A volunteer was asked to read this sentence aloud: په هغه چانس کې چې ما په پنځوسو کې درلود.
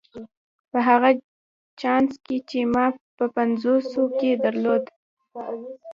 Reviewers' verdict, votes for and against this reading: accepted, 2, 0